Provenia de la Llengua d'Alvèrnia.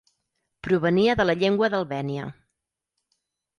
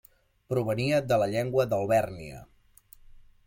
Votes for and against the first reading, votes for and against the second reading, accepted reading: 2, 4, 2, 0, second